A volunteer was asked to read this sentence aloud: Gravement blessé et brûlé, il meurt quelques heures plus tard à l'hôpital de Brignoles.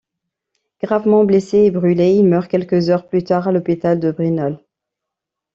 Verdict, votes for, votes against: rejected, 0, 2